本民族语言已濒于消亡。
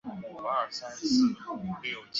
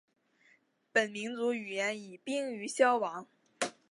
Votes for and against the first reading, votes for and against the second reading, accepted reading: 0, 2, 4, 0, second